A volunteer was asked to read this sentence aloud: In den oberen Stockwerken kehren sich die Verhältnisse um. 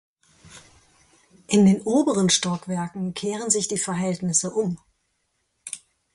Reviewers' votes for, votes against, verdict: 4, 0, accepted